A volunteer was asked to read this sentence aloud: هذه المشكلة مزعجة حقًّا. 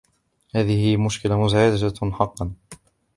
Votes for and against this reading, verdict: 0, 2, rejected